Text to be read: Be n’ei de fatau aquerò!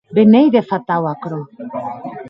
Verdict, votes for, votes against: rejected, 0, 2